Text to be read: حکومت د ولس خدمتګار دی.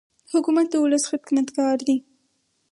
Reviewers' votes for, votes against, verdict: 2, 2, rejected